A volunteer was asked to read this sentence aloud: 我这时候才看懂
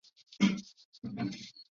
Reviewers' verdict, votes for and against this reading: accepted, 2, 1